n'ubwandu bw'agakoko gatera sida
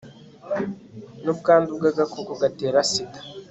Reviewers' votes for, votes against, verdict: 2, 0, accepted